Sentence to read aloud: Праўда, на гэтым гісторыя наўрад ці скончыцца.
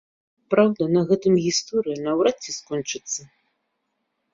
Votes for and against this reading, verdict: 2, 0, accepted